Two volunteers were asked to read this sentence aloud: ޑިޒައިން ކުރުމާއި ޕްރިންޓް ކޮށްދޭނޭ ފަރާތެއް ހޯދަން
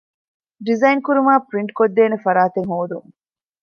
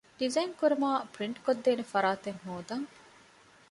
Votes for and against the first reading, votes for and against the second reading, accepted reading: 0, 2, 2, 0, second